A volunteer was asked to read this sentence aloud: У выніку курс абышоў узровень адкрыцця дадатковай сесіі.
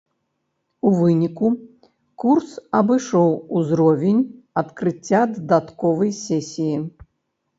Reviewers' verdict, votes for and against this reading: accepted, 2, 0